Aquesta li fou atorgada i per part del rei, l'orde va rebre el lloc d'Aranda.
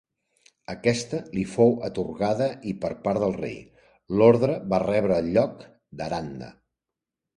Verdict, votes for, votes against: rejected, 1, 2